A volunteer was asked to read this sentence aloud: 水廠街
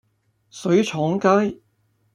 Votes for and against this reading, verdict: 2, 0, accepted